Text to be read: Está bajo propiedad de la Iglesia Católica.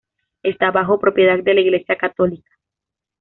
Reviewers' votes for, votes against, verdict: 2, 0, accepted